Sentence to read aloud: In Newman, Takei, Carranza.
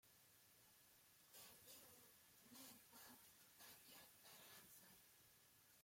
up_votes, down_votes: 0, 2